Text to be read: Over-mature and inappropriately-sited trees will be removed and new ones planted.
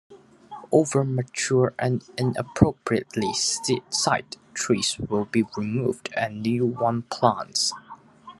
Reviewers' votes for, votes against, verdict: 0, 2, rejected